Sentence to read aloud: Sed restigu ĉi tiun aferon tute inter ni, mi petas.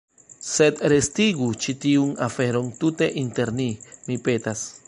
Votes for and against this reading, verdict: 2, 0, accepted